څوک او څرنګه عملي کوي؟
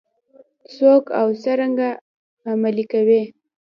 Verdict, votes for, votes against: accepted, 2, 0